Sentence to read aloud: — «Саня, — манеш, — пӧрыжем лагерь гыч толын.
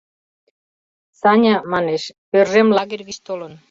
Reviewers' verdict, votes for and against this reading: rejected, 1, 2